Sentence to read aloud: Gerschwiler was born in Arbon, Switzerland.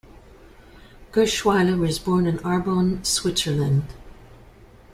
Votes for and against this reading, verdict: 2, 0, accepted